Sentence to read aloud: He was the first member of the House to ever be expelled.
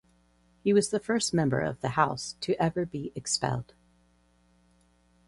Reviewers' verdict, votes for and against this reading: accepted, 4, 0